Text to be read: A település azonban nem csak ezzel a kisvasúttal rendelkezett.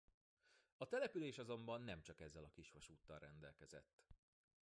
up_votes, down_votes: 1, 2